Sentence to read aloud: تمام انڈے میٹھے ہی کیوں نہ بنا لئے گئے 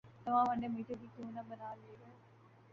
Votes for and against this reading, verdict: 0, 2, rejected